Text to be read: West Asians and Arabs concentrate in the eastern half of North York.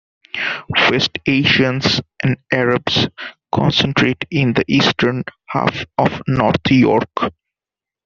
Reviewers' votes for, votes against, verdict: 1, 2, rejected